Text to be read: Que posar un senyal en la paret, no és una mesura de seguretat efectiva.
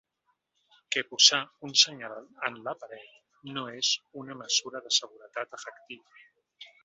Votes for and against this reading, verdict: 1, 2, rejected